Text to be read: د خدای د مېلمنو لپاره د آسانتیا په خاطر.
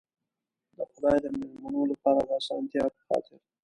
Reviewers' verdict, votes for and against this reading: accepted, 2, 0